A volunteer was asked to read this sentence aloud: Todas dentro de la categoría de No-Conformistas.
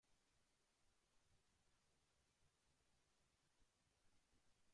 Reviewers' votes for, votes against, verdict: 0, 2, rejected